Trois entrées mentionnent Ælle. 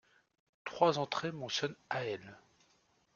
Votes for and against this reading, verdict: 1, 2, rejected